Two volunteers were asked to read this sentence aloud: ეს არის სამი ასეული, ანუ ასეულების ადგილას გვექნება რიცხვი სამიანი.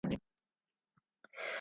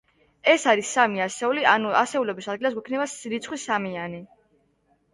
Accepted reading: second